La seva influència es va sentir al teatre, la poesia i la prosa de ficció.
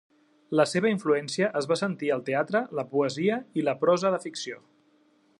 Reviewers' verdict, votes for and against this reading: accepted, 3, 0